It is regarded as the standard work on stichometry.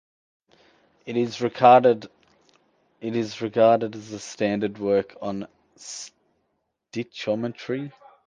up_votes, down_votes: 2, 0